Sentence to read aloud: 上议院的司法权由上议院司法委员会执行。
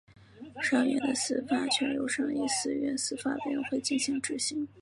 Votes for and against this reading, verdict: 2, 0, accepted